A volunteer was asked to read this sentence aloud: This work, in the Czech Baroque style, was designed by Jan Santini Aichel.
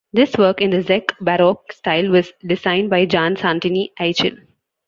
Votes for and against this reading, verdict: 1, 2, rejected